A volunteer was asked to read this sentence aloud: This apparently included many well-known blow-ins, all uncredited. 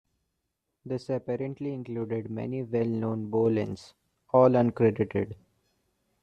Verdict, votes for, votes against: rejected, 0, 2